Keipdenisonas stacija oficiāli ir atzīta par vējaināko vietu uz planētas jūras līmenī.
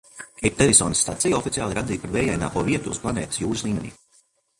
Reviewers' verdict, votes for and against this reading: accepted, 2, 1